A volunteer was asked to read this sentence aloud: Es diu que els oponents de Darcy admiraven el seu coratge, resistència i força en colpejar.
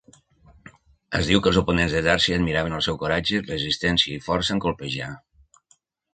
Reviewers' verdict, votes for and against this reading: accepted, 3, 0